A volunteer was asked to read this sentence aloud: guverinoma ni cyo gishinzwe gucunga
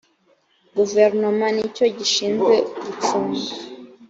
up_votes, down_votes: 3, 0